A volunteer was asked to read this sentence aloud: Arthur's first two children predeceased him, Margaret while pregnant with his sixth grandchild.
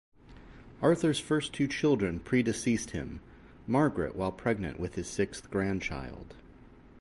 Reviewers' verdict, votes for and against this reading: accepted, 2, 0